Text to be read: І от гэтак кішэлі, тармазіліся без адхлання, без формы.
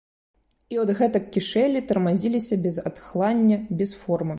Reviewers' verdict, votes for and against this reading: accepted, 2, 0